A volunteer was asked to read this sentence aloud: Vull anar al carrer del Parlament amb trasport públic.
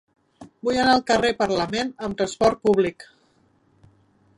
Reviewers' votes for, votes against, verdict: 0, 2, rejected